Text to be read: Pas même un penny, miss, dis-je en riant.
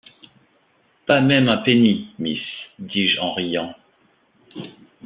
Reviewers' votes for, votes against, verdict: 2, 0, accepted